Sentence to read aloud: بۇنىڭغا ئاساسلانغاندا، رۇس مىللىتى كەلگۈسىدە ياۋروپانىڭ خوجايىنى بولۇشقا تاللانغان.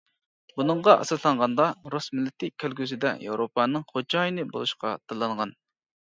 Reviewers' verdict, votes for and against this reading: accepted, 2, 0